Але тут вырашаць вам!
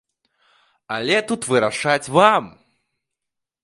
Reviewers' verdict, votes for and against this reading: accepted, 2, 0